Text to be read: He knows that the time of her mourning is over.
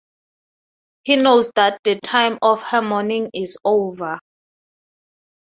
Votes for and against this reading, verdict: 6, 0, accepted